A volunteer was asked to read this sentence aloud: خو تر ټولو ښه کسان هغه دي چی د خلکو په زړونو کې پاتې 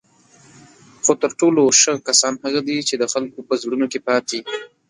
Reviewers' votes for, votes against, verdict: 2, 3, rejected